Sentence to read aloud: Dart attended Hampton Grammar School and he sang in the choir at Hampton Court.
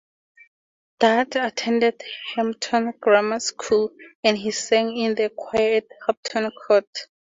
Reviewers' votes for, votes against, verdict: 0, 2, rejected